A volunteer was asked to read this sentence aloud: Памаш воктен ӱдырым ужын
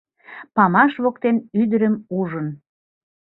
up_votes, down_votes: 3, 1